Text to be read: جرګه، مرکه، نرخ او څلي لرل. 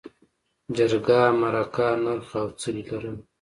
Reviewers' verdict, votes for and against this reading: accepted, 2, 0